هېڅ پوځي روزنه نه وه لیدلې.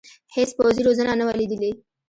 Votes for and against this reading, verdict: 2, 0, accepted